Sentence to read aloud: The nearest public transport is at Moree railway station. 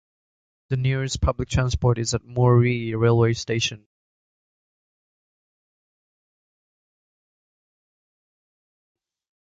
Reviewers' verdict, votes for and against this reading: accepted, 2, 0